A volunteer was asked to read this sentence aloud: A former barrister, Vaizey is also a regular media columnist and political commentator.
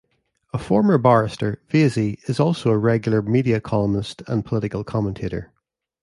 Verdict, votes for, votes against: accepted, 2, 0